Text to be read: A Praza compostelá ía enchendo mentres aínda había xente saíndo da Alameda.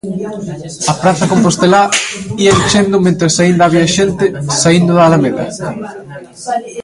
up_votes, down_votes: 0, 2